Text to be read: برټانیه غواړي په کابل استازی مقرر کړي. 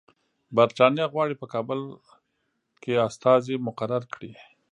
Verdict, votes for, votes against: rejected, 0, 2